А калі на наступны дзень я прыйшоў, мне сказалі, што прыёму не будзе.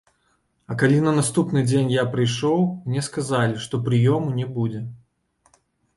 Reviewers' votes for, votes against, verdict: 1, 2, rejected